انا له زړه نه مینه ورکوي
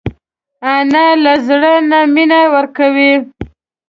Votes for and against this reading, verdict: 2, 0, accepted